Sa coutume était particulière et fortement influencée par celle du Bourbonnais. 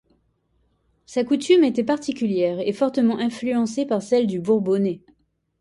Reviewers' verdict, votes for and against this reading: accepted, 2, 0